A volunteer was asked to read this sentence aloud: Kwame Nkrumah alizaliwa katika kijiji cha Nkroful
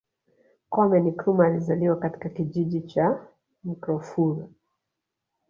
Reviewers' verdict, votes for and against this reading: accepted, 4, 1